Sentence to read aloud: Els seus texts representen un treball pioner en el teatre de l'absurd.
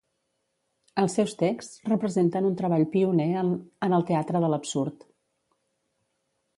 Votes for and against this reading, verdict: 0, 2, rejected